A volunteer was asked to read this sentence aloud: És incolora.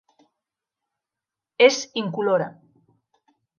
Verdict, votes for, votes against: accepted, 2, 0